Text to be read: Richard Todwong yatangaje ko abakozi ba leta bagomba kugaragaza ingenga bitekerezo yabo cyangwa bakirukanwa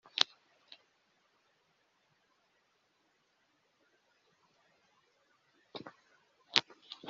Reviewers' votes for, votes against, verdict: 0, 2, rejected